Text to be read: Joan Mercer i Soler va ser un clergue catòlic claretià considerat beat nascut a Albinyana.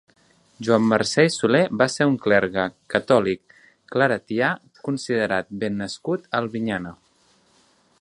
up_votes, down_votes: 0, 2